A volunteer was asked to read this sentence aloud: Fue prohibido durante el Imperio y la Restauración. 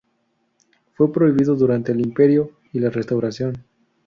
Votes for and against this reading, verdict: 2, 0, accepted